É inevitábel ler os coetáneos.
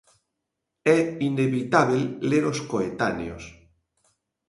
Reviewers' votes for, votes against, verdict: 2, 0, accepted